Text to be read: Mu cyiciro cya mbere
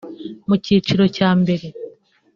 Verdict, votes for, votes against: rejected, 1, 2